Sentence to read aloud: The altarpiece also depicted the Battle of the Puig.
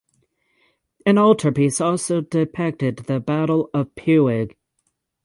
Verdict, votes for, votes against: rejected, 3, 6